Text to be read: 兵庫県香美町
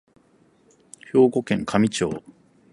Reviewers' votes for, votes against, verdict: 4, 0, accepted